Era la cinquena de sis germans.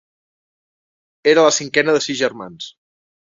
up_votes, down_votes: 3, 0